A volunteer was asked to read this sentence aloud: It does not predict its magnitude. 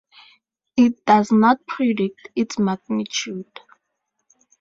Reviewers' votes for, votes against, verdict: 2, 0, accepted